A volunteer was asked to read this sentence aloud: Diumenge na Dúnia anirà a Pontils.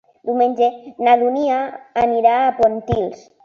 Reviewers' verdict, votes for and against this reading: accepted, 3, 0